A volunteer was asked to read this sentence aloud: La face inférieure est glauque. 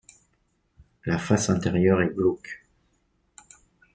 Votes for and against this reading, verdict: 0, 2, rejected